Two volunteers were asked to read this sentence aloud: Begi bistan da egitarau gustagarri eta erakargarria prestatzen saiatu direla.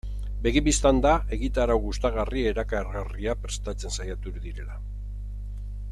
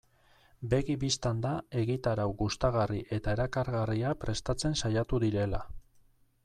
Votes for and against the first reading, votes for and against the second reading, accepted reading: 1, 2, 2, 0, second